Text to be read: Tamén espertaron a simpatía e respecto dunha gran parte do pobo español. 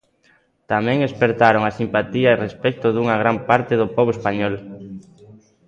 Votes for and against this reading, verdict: 2, 0, accepted